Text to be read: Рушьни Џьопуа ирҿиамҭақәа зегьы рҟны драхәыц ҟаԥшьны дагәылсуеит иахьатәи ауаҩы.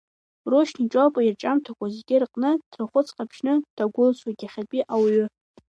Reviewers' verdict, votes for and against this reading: rejected, 1, 2